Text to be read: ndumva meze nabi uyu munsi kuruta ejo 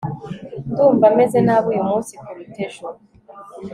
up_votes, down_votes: 2, 0